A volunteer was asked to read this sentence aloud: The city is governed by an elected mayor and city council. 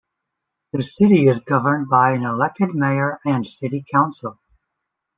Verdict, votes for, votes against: accepted, 2, 0